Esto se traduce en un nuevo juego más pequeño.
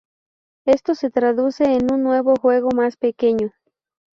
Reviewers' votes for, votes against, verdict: 2, 0, accepted